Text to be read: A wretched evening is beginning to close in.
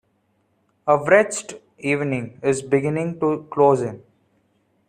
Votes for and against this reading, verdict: 0, 2, rejected